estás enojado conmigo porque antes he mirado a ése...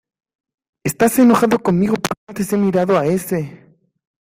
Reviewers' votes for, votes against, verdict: 2, 0, accepted